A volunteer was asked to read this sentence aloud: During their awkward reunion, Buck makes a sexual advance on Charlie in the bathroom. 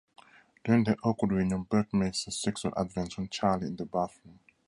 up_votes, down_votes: 2, 0